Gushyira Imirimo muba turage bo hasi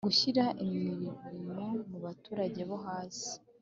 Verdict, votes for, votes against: accepted, 2, 0